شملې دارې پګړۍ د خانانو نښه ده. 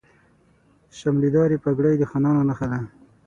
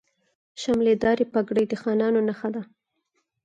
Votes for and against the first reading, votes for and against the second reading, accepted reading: 0, 6, 4, 0, second